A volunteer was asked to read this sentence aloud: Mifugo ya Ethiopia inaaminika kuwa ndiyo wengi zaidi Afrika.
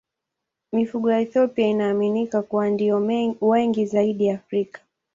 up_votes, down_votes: 3, 0